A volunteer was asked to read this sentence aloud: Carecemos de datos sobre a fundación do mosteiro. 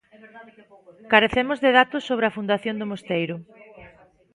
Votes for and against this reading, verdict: 0, 2, rejected